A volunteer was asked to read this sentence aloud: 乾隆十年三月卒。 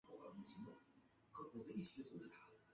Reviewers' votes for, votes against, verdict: 0, 2, rejected